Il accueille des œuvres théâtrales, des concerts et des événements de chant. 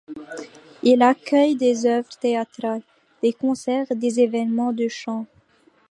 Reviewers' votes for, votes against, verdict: 2, 1, accepted